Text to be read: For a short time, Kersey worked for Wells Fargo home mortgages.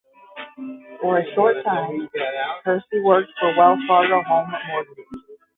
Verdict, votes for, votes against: rejected, 0, 5